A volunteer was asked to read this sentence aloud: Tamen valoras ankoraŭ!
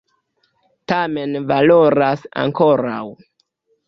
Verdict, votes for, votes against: rejected, 1, 2